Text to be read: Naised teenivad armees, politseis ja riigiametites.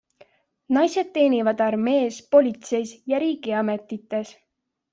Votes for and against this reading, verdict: 2, 0, accepted